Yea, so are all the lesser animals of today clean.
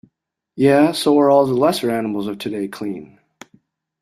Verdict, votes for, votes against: accepted, 2, 0